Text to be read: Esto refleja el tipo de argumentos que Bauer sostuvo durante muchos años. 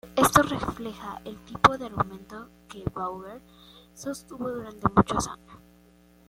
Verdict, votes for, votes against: accepted, 2, 1